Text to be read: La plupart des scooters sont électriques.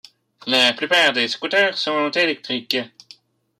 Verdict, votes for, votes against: rejected, 1, 2